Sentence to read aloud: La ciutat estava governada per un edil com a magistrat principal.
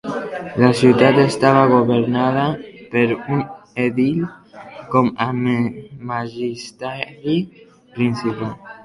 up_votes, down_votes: 0, 2